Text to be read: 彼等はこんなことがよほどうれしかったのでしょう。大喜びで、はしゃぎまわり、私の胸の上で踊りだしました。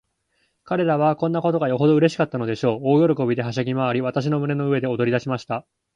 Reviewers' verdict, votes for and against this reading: rejected, 2, 2